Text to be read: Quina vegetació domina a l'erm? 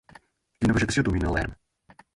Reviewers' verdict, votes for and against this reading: rejected, 2, 4